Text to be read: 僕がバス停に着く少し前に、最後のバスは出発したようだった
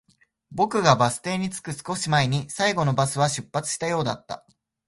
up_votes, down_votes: 5, 0